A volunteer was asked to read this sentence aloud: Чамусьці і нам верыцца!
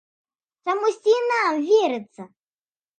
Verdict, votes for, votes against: accepted, 2, 0